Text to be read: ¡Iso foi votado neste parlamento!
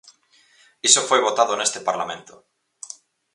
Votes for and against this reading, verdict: 6, 0, accepted